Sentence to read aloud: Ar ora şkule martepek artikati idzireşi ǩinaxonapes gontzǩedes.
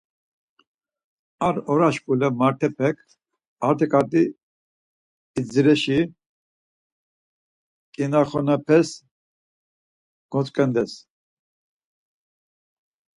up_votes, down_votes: 2, 4